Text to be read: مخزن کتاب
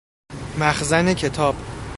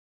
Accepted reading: first